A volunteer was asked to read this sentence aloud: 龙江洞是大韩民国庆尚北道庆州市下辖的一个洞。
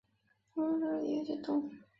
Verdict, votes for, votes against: rejected, 0, 2